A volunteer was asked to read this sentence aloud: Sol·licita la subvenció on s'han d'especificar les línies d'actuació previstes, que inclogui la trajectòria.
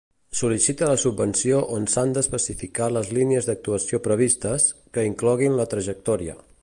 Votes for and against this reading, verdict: 1, 2, rejected